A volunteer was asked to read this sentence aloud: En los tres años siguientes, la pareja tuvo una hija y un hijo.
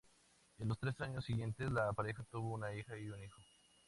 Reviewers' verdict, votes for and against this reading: accepted, 2, 0